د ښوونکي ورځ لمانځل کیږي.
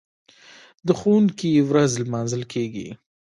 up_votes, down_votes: 1, 2